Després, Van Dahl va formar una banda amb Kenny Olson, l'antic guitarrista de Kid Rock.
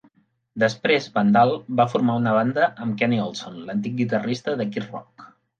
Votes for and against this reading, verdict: 2, 0, accepted